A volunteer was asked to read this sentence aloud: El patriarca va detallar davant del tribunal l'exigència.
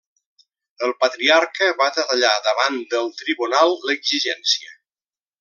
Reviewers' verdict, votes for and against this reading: rejected, 1, 2